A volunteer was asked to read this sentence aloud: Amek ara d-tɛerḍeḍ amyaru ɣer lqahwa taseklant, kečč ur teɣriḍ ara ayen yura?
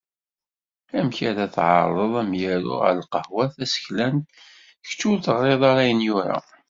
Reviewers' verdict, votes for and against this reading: rejected, 1, 2